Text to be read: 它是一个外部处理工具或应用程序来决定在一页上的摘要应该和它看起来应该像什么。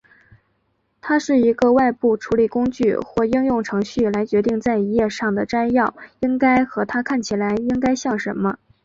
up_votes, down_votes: 3, 0